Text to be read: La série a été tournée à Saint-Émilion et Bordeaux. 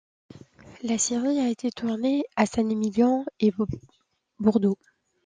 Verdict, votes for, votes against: rejected, 0, 2